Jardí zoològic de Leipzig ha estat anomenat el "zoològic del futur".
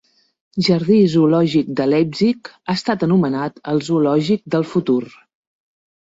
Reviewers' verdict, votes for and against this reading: accepted, 2, 0